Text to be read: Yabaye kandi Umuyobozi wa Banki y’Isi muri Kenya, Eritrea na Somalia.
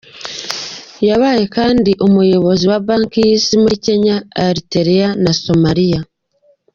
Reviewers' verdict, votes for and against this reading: accepted, 2, 0